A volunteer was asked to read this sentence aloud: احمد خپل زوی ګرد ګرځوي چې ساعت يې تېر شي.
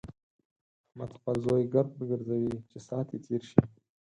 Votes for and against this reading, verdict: 4, 0, accepted